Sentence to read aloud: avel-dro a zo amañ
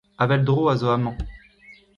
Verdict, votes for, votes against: rejected, 1, 2